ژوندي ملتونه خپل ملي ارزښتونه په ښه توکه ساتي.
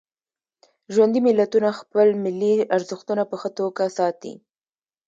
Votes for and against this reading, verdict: 0, 2, rejected